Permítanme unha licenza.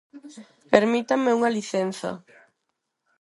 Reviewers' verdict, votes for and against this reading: accepted, 4, 0